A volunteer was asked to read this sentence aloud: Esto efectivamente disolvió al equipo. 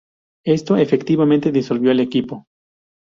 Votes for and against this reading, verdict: 0, 2, rejected